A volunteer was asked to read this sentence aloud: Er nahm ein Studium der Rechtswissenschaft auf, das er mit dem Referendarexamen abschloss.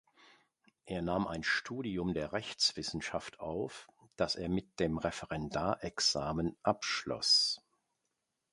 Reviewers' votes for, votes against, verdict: 2, 0, accepted